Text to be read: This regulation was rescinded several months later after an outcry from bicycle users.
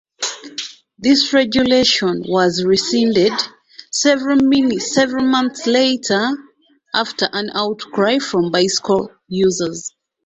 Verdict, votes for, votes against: rejected, 0, 2